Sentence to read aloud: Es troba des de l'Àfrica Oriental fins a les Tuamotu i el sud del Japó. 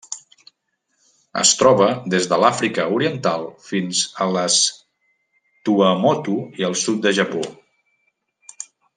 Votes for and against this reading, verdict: 0, 2, rejected